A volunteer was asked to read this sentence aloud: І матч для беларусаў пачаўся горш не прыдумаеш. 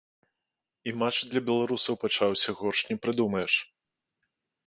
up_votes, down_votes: 2, 0